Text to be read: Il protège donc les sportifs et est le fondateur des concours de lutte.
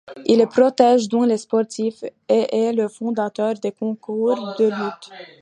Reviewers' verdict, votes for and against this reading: rejected, 0, 2